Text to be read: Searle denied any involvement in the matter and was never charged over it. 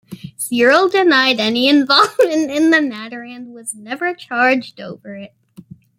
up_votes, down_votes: 0, 2